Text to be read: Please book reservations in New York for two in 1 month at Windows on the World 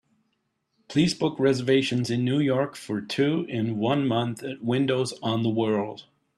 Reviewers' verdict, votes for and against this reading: rejected, 0, 2